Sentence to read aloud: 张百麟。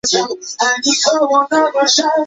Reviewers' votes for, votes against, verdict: 1, 2, rejected